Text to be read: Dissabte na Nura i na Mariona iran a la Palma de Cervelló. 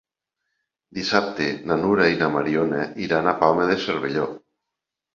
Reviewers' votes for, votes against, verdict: 0, 2, rejected